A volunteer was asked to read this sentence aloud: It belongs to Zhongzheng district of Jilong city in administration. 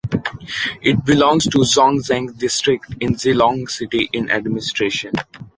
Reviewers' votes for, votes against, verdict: 1, 2, rejected